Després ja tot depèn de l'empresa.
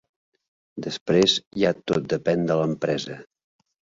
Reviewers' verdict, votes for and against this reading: accepted, 2, 0